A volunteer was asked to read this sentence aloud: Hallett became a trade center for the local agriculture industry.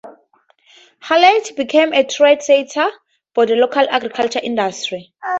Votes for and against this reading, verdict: 2, 2, rejected